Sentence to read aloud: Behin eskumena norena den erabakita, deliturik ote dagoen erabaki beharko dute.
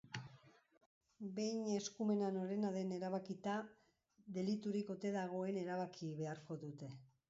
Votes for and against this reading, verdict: 1, 2, rejected